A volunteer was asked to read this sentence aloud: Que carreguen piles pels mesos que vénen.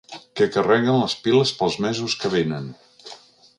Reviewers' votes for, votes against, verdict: 1, 3, rejected